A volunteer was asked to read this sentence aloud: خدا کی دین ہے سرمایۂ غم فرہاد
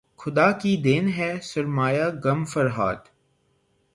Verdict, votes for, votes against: rejected, 0, 3